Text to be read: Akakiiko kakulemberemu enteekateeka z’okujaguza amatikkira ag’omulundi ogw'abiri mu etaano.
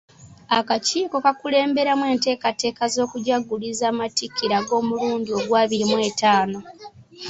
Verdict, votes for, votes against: rejected, 1, 2